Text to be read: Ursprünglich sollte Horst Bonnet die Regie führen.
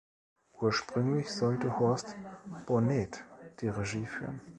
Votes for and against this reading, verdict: 1, 2, rejected